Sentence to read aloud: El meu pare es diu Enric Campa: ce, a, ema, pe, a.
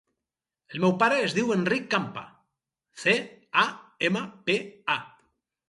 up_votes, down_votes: 2, 0